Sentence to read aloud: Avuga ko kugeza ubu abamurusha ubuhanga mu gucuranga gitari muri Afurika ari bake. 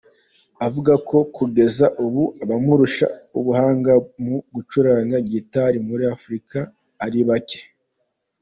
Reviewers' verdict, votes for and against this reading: accepted, 2, 0